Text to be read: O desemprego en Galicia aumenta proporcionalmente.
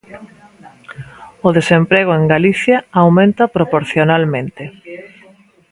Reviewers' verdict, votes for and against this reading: accepted, 2, 0